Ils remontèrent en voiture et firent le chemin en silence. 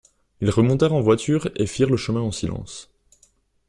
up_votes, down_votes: 2, 0